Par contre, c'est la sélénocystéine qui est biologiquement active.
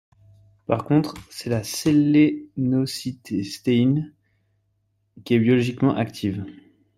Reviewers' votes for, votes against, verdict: 1, 2, rejected